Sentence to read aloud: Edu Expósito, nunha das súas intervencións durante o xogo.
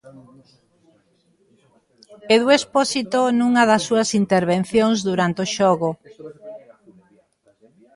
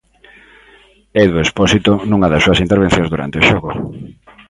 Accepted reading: second